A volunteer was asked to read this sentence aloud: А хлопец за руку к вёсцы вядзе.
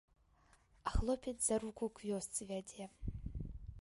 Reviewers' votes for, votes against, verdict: 3, 0, accepted